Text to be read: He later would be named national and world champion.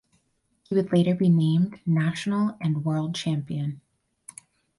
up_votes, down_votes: 2, 4